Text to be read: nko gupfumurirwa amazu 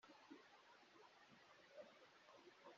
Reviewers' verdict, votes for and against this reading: rejected, 0, 2